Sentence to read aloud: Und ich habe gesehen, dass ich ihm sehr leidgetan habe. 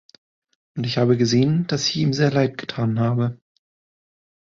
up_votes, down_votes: 0, 2